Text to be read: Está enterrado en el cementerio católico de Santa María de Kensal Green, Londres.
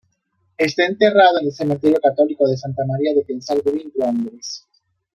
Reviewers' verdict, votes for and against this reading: accepted, 2, 0